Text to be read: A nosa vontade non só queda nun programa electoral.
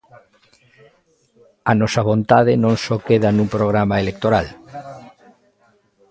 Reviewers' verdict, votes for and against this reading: accepted, 2, 0